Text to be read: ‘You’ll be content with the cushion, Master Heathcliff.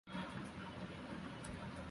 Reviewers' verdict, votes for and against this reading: rejected, 0, 2